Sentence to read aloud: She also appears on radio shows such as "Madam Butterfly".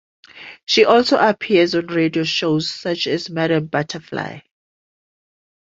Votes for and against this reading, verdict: 2, 0, accepted